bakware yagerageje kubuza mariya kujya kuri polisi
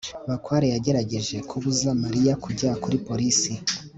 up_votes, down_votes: 3, 0